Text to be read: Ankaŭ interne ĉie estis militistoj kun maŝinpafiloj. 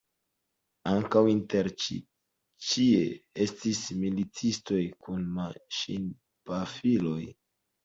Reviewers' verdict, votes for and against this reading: accepted, 2, 1